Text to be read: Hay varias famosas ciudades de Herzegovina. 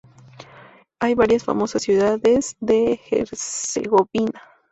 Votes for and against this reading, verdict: 0, 2, rejected